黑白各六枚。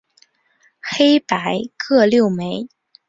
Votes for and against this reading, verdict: 3, 0, accepted